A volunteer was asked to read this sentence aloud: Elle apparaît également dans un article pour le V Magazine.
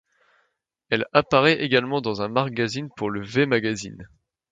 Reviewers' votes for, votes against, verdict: 0, 2, rejected